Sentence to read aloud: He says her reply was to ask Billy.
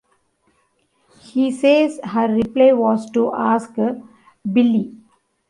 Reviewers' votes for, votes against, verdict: 1, 2, rejected